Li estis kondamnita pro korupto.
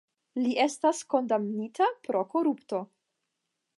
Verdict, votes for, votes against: rejected, 5, 5